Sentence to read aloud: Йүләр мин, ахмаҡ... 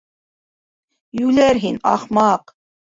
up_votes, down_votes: 0, 2